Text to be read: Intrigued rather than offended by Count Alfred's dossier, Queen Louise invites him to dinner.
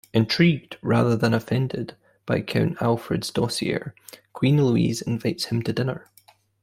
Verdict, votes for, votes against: accepted, 2, 0